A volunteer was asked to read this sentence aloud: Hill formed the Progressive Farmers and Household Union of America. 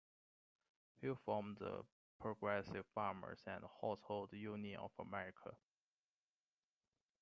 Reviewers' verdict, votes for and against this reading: accepted, 2, 1